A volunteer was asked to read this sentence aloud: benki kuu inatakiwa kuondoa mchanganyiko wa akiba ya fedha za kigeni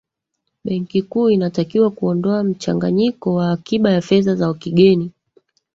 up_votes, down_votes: 2, 3